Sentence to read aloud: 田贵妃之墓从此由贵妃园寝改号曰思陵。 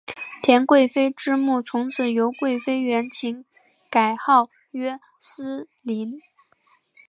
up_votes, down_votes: 1, 2